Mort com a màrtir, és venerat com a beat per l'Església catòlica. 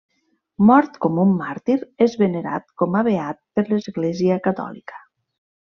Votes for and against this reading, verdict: 0, 2, rejected